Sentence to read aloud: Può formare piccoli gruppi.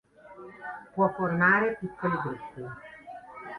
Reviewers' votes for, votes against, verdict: 1, 2, rejected